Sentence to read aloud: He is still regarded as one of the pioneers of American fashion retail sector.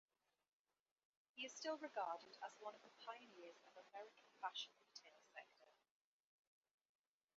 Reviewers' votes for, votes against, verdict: 2, 2, rejected